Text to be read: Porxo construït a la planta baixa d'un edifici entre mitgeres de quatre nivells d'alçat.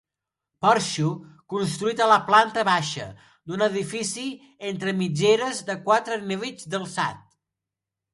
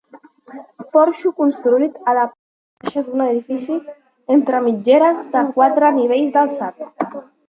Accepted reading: first